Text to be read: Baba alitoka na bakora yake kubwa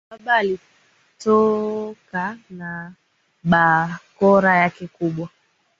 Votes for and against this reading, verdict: 1, 2, rejected